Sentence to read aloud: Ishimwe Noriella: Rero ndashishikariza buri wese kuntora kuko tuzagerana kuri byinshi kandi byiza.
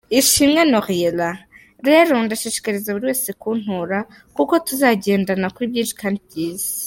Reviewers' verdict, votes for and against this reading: rejected, 0, 3